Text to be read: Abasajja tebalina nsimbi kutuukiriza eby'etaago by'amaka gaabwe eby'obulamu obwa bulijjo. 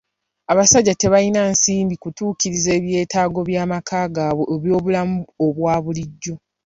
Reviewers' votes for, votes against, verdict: 2, 0, accepted